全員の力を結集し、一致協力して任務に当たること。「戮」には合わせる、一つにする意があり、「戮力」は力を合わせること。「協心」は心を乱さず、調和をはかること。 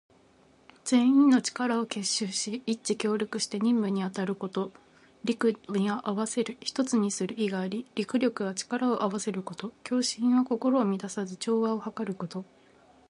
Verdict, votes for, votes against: accepted, 2, 0